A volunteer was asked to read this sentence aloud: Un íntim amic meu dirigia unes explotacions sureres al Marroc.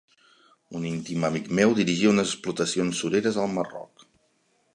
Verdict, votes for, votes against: accepted, 3, 0